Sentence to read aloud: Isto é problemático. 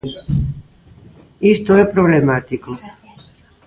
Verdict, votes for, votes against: rejected, 0, 2